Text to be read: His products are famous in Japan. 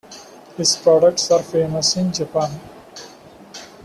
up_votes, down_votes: 2, 0